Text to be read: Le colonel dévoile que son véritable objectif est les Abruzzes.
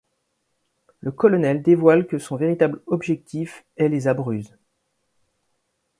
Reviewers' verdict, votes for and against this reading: accepted, 2, 0